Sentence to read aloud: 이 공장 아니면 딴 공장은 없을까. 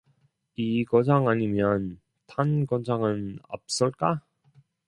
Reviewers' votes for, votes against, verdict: 0, 2, rejected